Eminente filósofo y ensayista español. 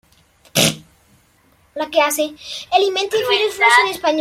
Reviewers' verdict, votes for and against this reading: rejected, 0, 2